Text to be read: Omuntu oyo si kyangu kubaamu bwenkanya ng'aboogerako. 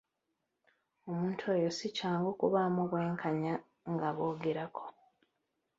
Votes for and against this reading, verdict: 2, 0, accepted